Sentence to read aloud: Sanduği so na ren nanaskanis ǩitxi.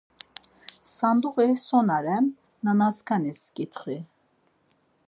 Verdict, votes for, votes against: accepted, 4, 2